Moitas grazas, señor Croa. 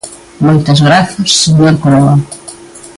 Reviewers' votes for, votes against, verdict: 3, 0, accepted